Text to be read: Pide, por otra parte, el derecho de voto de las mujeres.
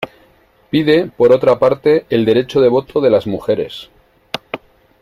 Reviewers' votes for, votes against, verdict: 2, 0, accepted